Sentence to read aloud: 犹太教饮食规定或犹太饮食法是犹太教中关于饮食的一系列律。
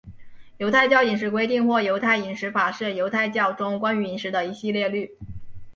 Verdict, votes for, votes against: accepted, 4, 1